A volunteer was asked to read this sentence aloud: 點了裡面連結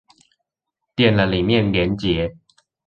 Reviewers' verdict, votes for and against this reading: accepted, 2, 0